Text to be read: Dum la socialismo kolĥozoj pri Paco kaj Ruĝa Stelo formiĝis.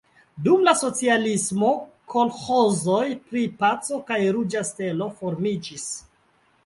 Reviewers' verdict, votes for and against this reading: accepted, 2, 1